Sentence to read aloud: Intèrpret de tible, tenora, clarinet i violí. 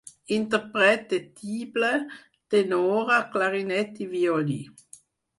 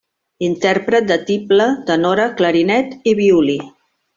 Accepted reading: second